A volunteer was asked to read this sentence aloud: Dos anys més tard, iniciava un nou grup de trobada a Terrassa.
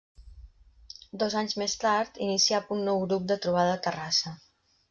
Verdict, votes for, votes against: rejected, 0, 2